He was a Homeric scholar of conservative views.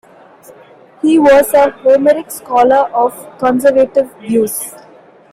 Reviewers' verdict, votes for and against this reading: accepted, 2, 0